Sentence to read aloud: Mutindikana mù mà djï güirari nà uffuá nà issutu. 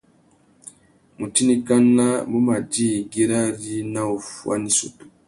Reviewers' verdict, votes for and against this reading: accepted, 2, 0